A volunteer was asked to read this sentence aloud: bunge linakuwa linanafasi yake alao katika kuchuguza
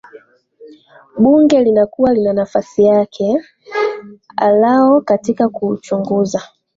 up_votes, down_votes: 2, 4